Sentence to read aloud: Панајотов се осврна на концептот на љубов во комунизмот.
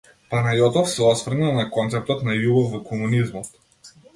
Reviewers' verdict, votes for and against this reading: accepted, 2, 0